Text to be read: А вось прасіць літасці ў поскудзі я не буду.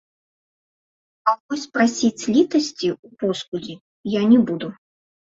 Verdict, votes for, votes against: accepted, 2, 0